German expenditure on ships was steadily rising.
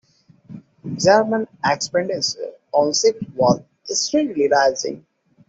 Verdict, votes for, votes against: rejected, 1, 2